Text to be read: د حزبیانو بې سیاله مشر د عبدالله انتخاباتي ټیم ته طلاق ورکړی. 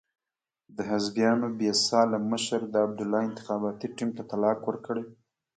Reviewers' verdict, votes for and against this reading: accepted, 2, 0